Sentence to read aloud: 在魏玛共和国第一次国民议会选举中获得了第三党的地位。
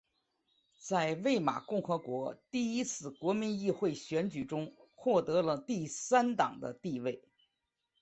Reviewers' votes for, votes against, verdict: 2, 0, accepted